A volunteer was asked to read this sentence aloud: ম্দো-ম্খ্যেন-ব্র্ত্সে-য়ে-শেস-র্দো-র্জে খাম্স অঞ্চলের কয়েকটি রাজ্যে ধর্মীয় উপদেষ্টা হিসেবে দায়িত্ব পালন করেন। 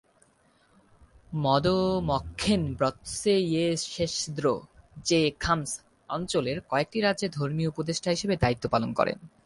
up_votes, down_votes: 4, 0